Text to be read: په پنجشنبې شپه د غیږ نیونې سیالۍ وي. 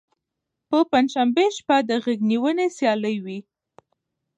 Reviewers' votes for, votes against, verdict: 2, 0, accepted